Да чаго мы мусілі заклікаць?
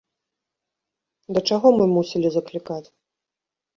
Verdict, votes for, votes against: accepted, 2, 0